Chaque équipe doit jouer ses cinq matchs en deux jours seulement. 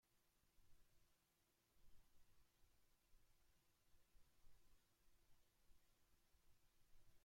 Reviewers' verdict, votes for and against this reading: rejected, 0, 2